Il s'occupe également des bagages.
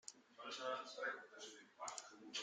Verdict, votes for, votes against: rejected, 0, 2